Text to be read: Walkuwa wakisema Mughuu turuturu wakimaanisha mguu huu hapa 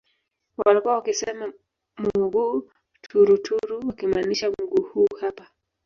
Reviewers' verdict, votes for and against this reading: accepted, 2, 0